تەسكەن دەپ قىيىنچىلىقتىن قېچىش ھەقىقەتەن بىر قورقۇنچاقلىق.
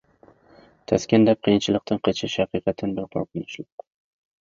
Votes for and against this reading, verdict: 0, 2, rejected